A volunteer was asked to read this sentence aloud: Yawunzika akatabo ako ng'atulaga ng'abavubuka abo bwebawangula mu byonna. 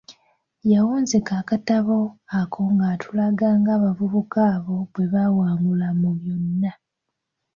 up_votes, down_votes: 2, 1